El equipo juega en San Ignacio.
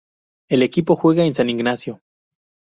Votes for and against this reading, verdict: 4, 0, accepted